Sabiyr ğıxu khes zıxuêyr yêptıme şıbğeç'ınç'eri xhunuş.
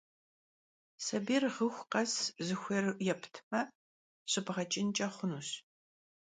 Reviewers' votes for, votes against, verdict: 1, 2, rejected